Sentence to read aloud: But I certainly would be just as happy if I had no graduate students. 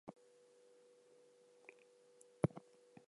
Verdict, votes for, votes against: rejected, 0, 4